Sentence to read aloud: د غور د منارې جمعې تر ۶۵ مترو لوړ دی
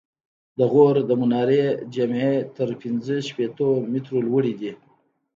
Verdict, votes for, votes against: rejected, 0, 2